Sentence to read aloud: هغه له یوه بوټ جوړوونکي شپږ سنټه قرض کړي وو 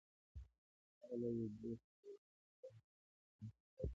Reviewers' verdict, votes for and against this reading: rejected, 1, 2